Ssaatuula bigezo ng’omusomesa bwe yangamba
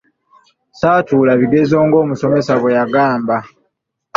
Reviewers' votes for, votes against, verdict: 1, 2, rejected